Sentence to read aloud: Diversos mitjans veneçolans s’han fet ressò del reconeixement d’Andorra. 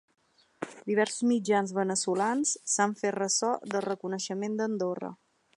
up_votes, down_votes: 2, 0